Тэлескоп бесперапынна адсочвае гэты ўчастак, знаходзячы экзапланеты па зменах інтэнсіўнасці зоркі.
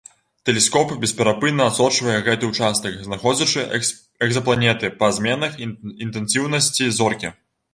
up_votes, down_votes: 0, 2